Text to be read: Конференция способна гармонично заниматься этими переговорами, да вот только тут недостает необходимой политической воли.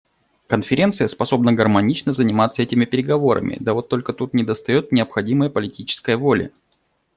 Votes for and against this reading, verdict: 2, 0, accepted